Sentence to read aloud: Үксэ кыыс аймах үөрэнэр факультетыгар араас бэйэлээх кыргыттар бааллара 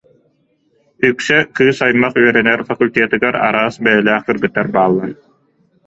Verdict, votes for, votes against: rejected, 0, 2